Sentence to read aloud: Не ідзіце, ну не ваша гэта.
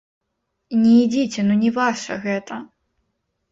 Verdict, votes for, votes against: rejected, 0, 2